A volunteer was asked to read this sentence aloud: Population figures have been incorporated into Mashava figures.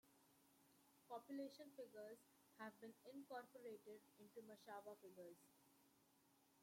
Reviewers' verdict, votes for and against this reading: rejected, 0, 2